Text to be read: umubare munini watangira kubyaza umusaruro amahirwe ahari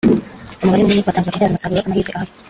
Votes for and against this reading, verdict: 0, 4, rejected